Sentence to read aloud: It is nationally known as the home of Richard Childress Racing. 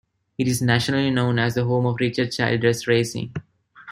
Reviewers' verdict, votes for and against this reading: accepted, 2, 0